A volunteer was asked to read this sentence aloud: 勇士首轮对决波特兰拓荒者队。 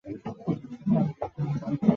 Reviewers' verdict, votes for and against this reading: rejected, 2, 2